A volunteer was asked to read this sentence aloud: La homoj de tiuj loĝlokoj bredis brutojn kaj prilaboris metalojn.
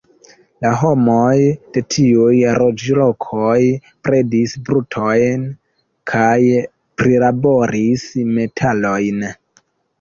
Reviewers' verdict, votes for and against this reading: rejected, 1, 2